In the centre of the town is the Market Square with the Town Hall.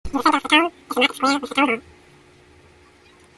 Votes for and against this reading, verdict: 0, 2, rejected